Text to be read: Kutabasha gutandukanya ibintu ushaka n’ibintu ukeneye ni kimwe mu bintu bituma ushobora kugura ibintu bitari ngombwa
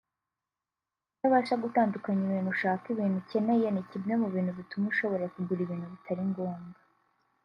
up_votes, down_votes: 0, 2